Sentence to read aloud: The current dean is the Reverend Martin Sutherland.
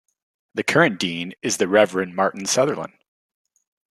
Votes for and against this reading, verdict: 2, 1, accepted